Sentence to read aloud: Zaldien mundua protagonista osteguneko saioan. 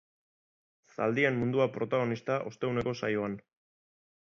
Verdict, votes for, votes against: accepted, 2, 0